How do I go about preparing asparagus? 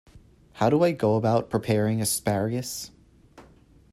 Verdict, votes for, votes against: accepted, 2, 0